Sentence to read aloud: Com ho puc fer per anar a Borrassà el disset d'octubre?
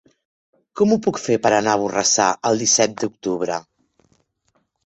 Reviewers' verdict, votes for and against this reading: accepted, 4, 0